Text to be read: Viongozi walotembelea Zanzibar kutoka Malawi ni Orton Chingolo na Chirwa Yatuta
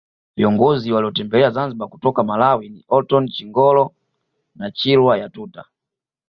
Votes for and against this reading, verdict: 2, 0, accepted